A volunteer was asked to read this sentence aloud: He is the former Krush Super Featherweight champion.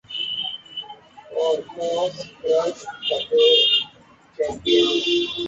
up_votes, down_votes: 0, 2